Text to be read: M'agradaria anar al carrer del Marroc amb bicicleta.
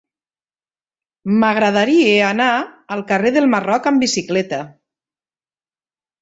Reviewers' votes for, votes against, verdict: 1, 2, rejected